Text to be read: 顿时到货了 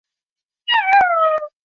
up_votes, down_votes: 0, 4